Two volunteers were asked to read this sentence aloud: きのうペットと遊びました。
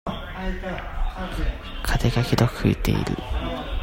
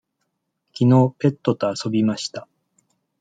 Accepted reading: second